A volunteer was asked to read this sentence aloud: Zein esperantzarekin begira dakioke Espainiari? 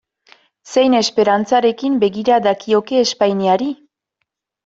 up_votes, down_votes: 2, 0